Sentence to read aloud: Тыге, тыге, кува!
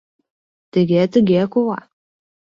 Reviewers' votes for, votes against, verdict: 2, 0, accepted